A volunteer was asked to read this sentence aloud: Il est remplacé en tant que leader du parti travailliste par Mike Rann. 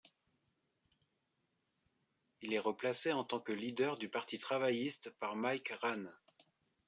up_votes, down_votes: 2, 3